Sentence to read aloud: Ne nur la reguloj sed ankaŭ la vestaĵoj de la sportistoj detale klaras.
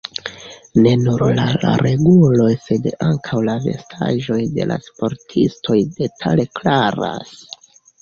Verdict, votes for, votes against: accepted, 2, 1